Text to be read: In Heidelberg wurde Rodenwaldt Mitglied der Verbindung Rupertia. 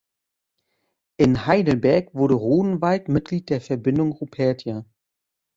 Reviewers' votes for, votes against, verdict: 2, 0, accepted